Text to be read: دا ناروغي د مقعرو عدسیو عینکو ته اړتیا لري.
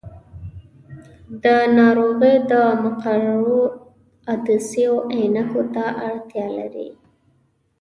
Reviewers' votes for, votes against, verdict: 2, 0, accepted